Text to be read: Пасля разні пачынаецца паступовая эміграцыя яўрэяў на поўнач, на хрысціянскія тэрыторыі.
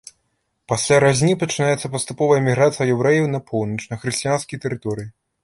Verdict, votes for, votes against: accepted, 2, 0